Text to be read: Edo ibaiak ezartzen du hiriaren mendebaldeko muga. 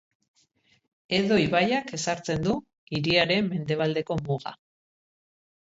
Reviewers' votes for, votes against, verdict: 3, 0, accepted